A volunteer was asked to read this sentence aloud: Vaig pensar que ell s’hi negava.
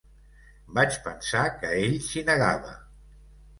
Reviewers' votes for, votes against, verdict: 2, 0, accepted